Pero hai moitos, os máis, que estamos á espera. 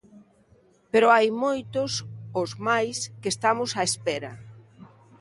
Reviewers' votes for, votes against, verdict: 2, 1, accepted